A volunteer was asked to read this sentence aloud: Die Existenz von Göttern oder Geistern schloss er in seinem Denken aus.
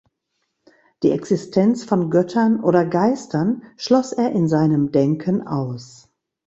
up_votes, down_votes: 2, 0